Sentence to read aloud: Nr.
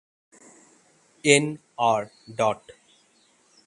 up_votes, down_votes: 3, 3